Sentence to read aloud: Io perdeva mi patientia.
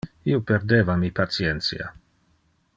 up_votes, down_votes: 2, 0